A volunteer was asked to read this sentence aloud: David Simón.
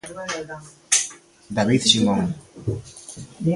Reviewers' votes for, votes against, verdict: 2, 1, accepted